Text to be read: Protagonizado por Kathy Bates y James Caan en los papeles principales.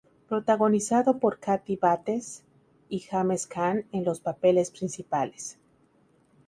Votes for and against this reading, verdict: 2, 0, accepted